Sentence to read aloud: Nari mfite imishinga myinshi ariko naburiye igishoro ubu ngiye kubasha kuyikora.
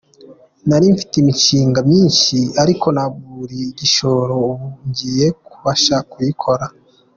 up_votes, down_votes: 2, 0